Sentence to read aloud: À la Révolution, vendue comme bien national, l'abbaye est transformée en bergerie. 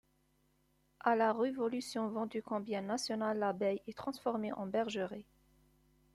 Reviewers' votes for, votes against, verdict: 1, 2, rejected